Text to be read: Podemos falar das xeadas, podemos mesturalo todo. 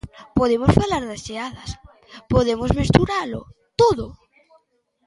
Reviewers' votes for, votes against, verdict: 2, 1, accepted